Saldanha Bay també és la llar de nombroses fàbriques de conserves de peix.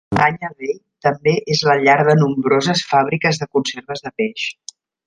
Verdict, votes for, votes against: rejected, 0, 2